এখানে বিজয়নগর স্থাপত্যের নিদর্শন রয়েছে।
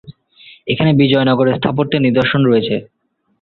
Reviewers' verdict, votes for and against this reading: accepted, 2, 0